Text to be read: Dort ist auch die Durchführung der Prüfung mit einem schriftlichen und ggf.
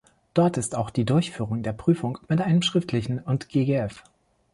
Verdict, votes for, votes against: rejected, 1, 2